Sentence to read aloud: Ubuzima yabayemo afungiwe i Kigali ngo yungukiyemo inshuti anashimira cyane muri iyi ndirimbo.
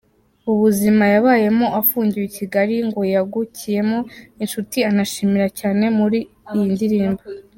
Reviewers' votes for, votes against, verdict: 0, 2, rejected